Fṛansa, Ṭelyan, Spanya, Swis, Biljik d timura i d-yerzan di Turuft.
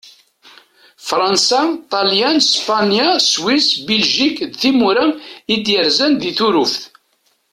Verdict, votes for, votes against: accepted, 2, 0